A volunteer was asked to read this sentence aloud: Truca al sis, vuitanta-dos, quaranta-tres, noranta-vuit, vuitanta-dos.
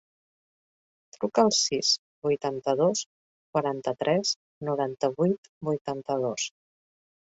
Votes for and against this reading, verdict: 2, 0, accepted